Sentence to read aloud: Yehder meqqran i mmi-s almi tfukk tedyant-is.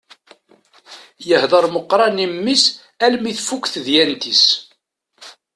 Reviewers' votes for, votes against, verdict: 2, 0, accepted